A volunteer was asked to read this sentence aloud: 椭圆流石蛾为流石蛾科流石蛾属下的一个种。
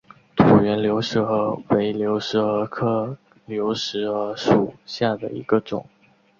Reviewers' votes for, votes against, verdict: 0, 2, rejected